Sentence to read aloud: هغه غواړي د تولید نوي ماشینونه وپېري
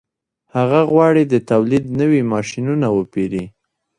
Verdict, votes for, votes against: accepted, 2, 0